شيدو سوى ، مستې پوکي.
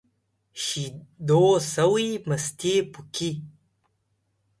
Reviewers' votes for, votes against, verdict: 2, 0, accepted